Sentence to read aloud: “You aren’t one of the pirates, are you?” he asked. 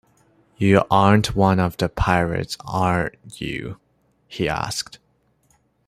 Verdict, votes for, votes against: accepted, 2, 0